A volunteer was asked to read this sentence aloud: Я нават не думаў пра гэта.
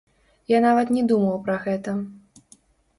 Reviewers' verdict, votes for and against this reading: rejected, 1, 2